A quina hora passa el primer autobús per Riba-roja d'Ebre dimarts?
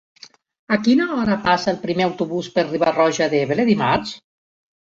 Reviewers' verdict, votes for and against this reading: accepted, 2, 0